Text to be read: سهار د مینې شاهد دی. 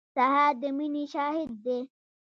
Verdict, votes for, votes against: rejected, 1, 2